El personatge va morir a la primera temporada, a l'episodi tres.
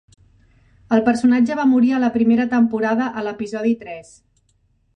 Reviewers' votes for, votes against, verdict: 3, 0, accepted